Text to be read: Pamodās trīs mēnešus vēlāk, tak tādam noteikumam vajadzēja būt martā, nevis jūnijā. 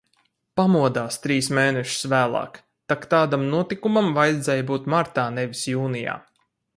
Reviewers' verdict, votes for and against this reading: rejected, 0, 4